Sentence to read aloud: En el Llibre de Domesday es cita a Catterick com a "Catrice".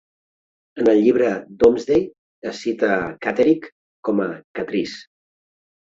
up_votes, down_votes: 2, 1